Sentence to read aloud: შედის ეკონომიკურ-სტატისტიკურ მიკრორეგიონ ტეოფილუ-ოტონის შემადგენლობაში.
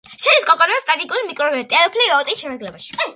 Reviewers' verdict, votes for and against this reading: rejected, 0, 2